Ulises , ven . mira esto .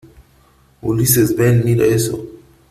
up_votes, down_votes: 2, 1